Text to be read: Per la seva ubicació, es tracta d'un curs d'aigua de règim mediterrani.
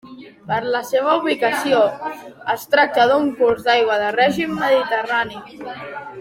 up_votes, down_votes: 3, 0